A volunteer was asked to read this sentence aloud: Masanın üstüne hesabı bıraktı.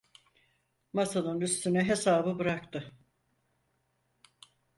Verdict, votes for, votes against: accepted, 4, 0